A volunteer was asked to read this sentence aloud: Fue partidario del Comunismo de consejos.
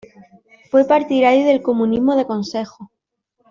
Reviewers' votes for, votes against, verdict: 0, 2, rejected